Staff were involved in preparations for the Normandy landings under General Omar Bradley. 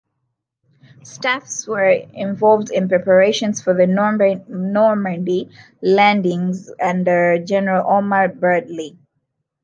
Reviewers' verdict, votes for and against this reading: rejected, 1, 3